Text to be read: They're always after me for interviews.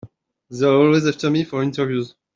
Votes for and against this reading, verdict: 2, 0, accepted